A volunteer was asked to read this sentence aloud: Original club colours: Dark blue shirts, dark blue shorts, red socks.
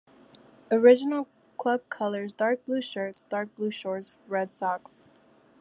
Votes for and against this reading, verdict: 0, 2, rejected